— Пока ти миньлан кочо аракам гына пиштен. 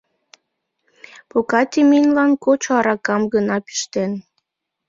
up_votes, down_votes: 2, 0